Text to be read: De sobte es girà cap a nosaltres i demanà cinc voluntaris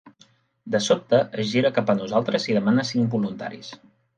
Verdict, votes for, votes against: rejected, 1, 2